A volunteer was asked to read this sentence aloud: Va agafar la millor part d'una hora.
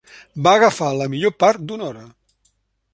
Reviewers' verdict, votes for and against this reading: accepted, 3, 0